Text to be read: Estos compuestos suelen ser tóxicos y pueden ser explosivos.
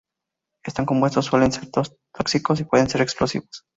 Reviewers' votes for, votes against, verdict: 0, 4, rejected